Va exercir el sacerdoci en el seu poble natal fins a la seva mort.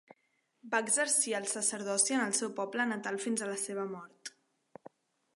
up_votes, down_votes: 2, 0